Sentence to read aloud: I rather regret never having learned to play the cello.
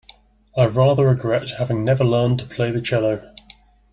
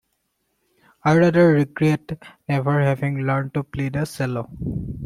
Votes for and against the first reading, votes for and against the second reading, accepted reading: 2, 0, 1, 2, first